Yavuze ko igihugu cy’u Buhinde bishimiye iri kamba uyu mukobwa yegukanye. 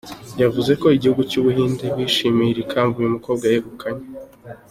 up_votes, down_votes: 2, 0